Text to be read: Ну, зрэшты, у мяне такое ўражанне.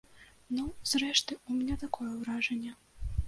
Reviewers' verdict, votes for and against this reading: rejected, 1, 2